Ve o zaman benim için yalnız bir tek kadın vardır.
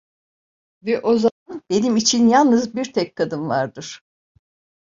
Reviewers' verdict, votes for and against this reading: rejected, 1, 2